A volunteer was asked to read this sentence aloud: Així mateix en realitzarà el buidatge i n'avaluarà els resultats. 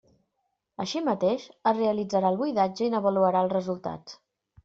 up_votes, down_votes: 0, 2